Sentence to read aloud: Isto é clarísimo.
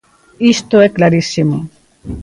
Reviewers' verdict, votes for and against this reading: accepted, 2, 0